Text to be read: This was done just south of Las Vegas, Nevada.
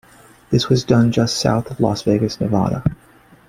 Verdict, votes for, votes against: rejected, 1, 2